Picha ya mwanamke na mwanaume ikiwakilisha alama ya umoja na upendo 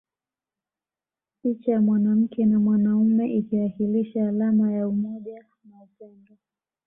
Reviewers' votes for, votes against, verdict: 2, 0, accepted